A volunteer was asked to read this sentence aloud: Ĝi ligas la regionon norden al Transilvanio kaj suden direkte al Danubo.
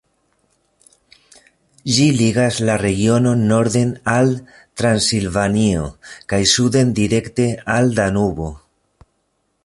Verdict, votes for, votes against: rejected, 1, 2